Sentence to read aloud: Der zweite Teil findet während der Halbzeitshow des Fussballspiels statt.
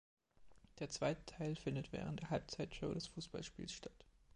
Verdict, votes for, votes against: accepted, 2, 0